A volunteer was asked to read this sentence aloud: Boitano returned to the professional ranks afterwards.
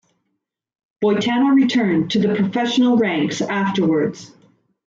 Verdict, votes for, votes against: rejected, 1, 2